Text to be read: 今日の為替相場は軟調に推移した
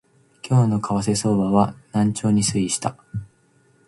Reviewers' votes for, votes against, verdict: 3, 0, accepted